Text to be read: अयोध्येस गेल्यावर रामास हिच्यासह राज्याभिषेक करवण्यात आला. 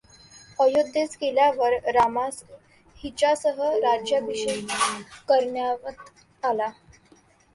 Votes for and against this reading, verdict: 0, 2, rejected